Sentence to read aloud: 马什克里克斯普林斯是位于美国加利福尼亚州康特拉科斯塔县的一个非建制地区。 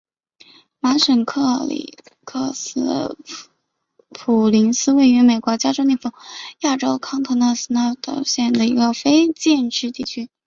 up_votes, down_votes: 7, 1